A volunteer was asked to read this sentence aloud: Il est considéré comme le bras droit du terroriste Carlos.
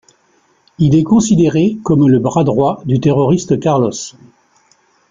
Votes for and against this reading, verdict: 2, 0, accepted